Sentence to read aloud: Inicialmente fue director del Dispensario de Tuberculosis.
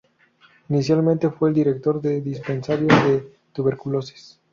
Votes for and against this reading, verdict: 2, 2, rejected